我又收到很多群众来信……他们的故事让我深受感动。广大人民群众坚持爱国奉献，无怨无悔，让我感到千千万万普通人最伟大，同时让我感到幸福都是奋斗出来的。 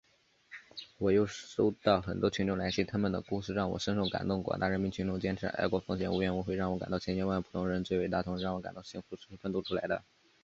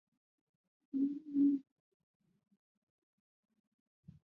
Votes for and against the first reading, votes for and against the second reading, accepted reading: 3, 0, 0, 2, first